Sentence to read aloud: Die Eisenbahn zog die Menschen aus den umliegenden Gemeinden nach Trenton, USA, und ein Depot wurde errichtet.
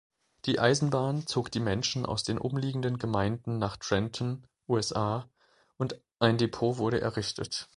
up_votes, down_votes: 2, 0